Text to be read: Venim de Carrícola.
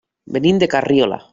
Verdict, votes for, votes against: rejected, 0, 2